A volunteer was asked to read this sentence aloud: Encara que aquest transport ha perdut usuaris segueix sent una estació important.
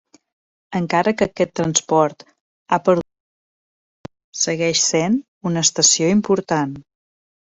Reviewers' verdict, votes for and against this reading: rejected, 0, 2